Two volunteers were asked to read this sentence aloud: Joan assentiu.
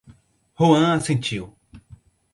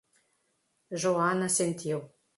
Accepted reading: first